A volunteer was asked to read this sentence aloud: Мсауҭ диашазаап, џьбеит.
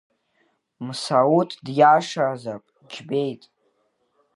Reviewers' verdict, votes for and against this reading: rejected, 1, 2